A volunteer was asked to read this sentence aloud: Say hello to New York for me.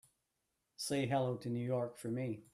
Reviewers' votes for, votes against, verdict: 2, 0, accepted